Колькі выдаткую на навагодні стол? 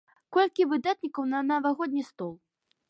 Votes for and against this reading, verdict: 1, 2, rejected